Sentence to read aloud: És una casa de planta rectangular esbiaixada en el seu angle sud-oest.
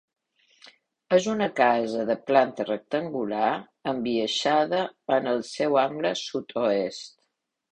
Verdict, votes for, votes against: rejected, 1, 2